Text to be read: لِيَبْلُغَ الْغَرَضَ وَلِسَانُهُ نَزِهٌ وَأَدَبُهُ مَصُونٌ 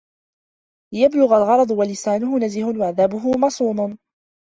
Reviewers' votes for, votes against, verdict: 0, 2, rejected